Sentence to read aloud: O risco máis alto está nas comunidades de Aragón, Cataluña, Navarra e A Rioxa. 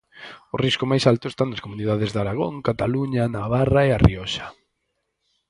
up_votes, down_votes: 4, 0